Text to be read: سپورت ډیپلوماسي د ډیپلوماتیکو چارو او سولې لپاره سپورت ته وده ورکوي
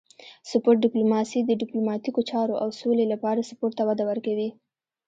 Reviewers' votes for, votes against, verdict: 1, 2, rejected